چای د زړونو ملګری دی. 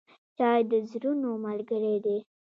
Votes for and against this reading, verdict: 1, 2, rejected